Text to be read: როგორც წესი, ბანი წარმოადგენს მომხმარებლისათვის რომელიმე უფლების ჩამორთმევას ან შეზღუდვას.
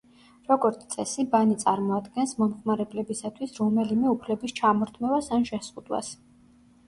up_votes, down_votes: 0, 2